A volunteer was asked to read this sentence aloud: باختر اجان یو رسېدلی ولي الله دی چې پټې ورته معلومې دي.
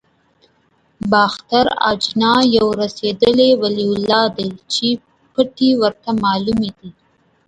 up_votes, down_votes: 0, 2